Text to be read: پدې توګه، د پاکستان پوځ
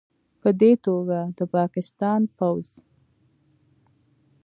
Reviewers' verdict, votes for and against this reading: accepted, 2, 0